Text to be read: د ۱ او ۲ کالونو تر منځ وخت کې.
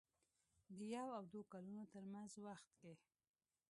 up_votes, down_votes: 0, 2